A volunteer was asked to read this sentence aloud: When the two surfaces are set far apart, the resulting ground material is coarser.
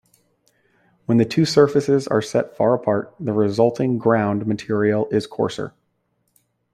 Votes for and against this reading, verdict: 2, 0, accepted